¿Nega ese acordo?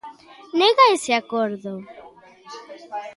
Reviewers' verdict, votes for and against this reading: rejected, 1, 2